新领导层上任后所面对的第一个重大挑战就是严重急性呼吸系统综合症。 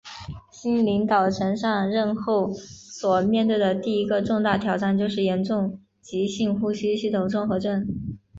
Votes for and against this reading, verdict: 2, 0, accepted